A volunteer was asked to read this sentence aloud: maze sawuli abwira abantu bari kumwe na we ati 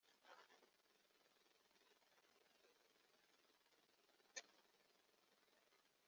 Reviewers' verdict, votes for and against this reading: rejected, 0, 2